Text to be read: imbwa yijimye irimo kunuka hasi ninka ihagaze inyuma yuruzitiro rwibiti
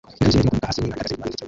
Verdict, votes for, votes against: rejected, 0, 2